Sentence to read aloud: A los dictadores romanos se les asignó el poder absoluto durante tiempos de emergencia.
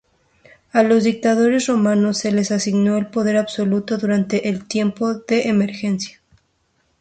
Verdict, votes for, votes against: accepted, 2, 0